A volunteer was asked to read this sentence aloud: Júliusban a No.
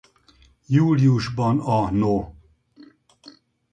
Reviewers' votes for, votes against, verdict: 0, 2, rejected